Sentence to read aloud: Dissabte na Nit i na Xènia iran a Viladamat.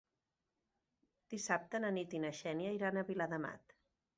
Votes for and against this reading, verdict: 2, 0, accepted